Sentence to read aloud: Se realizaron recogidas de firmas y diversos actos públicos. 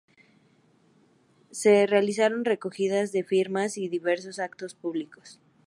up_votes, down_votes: 2, 0